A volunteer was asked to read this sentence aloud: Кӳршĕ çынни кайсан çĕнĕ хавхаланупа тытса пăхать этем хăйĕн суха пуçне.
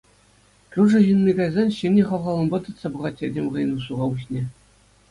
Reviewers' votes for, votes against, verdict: 2, 0, accepted